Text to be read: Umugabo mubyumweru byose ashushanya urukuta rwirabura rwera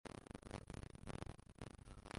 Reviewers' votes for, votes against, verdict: 0, 2, rejected